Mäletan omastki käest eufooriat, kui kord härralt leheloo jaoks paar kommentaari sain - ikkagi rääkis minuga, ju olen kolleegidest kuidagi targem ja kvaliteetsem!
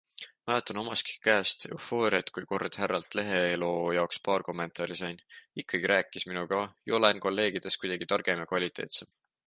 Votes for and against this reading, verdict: 2, 0, accepted